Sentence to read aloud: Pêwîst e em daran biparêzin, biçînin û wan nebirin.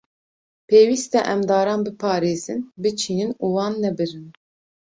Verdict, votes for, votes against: accepted, 2, 0